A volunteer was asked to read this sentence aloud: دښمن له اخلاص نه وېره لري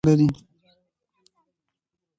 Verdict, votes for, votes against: rejected, 1, 2